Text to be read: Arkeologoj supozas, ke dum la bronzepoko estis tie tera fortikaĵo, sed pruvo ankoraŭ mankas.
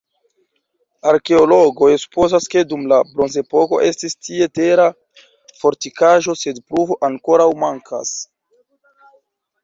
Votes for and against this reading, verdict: 1, 2, rejected